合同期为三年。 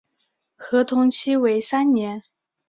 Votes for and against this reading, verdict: 7, 1, accepted